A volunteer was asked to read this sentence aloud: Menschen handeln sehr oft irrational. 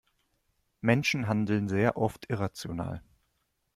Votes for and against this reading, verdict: 2, 0, accepted